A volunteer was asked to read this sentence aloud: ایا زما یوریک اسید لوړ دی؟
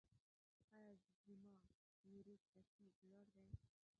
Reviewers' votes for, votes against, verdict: 0, 2, rejected